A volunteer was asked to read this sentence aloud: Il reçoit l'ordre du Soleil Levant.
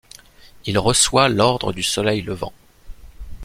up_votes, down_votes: 2, 0